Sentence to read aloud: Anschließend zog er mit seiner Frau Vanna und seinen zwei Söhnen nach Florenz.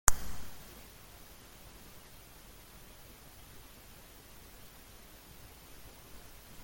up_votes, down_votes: 0, 2